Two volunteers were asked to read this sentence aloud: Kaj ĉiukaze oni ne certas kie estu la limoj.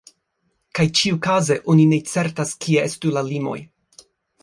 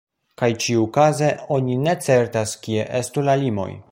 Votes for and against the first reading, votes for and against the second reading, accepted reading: 0, 2, 2, 0, second